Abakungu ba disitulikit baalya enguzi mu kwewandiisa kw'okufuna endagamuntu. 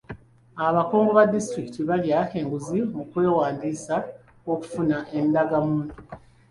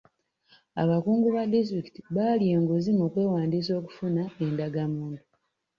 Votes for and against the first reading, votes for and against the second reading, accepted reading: 2, 1, 2, 3, first